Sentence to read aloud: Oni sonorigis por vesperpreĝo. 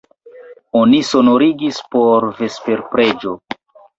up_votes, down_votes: 0, 2